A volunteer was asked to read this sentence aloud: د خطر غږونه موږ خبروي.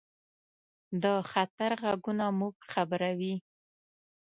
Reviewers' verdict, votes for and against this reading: accepted, 2, 0